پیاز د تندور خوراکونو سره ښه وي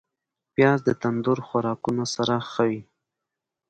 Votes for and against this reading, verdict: 2, 1, accepted